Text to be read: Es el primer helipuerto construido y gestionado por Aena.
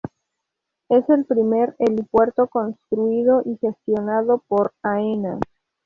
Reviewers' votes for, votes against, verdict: 2, 0, accepted